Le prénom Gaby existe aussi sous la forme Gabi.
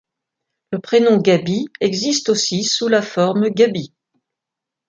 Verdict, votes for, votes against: accepted, 2, 0